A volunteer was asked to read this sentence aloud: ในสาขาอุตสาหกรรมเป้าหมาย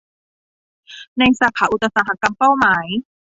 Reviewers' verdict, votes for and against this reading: accepted, 2, 0